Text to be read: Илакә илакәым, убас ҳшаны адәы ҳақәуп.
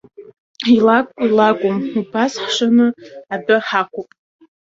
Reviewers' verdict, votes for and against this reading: rejected, 0, 2